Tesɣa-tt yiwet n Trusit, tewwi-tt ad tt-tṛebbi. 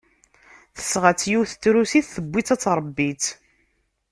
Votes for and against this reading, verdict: 0, 2, rejected